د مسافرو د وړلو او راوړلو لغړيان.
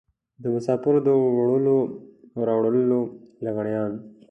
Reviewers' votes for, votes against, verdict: 2, 0, accepted